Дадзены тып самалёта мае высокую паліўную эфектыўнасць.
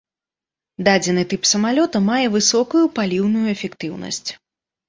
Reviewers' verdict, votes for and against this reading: accepted, 2, 0